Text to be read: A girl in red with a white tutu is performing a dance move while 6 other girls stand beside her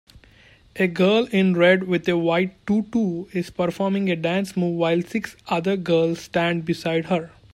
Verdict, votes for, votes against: rejected, 0, 2